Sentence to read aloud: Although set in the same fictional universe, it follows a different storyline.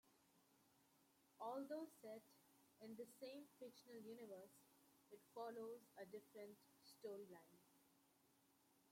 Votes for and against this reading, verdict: 0, 2, rejected